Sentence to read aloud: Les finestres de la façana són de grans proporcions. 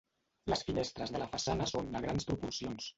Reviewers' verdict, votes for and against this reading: accepted, 2, 0